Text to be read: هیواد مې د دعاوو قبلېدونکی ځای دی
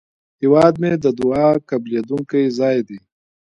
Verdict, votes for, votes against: rejected, 1, 2